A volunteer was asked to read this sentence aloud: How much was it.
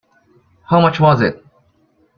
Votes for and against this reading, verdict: 2, 0, accepted